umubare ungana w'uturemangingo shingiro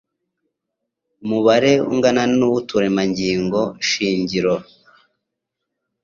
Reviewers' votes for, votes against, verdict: 2, 0, accepted